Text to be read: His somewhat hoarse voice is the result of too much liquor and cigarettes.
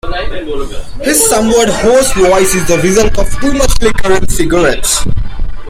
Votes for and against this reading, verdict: 2, 1, accepted